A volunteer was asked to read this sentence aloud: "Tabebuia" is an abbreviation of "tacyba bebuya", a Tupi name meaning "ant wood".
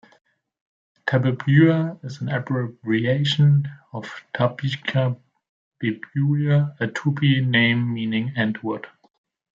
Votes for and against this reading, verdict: 0, 2, rejected